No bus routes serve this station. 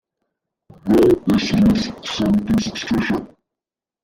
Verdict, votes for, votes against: rejected, 1, 2